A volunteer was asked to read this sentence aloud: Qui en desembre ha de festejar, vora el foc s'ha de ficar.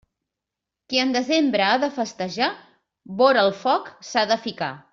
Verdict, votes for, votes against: accepted, 3, 0